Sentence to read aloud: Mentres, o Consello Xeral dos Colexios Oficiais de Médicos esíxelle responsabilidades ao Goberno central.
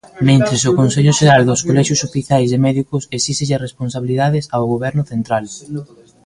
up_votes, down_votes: 2, 0